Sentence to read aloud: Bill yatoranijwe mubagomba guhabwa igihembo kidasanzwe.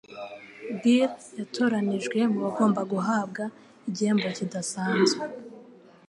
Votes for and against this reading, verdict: 2, 0, accepted